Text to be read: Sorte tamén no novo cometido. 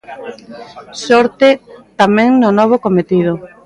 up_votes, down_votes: 0, 2